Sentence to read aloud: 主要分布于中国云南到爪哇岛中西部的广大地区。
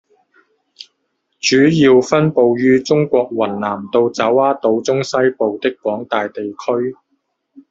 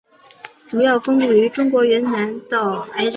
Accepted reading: first